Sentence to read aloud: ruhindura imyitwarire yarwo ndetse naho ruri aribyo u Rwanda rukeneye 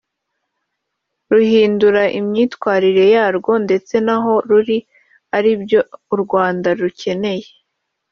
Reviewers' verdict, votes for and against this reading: rejected, 1, 2